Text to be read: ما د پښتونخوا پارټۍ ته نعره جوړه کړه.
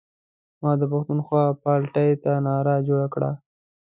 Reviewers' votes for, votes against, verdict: 2, 0, accepted